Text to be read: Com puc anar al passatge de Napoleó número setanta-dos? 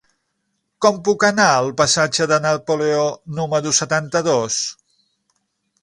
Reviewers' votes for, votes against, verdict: 6, 0, accepted